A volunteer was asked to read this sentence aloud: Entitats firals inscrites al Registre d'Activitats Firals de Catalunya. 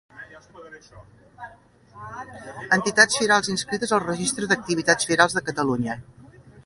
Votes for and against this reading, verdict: 0, 2, rejected